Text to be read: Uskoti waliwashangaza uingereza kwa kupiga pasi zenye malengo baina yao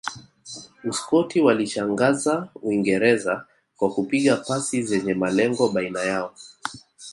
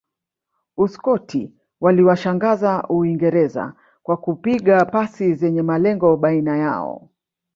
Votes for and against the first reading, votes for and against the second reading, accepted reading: 2, 0, 0, 2, first